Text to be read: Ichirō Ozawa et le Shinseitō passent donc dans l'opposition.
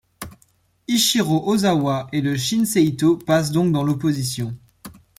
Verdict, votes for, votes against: accepted, 3, 0